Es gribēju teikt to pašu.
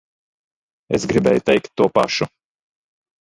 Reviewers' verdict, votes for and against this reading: rejected, 1, 2